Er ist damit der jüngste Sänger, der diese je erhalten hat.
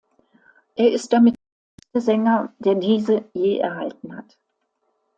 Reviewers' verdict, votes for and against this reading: rejected, 0, 2